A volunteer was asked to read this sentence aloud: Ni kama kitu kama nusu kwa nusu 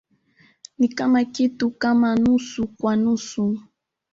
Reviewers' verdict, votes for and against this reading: rejected, 1, 2